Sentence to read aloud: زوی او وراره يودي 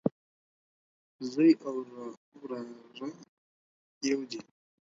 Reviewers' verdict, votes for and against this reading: rejected, 0, 4